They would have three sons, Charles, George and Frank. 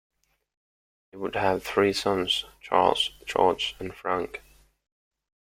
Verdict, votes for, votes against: accepted, 2, 1